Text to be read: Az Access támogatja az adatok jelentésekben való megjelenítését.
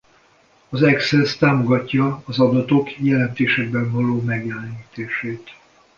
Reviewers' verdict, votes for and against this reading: accepted, 2, 0